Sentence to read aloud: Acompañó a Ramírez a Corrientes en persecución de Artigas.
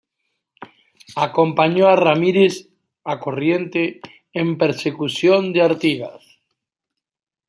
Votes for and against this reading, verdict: 0, 2, rejected